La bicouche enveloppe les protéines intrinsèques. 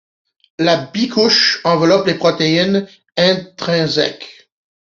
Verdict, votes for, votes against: accepted, 2, 1